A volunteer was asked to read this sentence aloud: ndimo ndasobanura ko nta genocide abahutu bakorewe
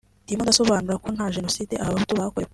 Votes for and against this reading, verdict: 2, 0, accepted